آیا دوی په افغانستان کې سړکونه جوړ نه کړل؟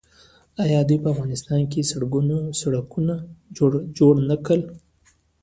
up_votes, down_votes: 2, 0